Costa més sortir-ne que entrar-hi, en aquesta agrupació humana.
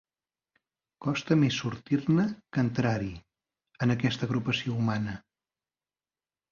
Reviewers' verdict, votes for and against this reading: accepted, 3, 0